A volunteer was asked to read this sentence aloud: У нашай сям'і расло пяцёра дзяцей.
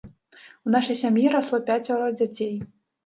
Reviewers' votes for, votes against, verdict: 0, 2, rejected